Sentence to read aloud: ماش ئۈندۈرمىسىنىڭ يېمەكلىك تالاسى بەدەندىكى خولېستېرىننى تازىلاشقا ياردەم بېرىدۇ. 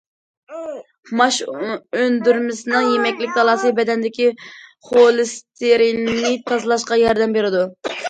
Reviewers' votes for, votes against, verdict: 2, 1, accepted